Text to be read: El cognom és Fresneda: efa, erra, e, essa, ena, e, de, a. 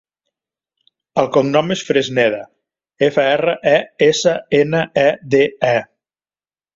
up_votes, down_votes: 1, 2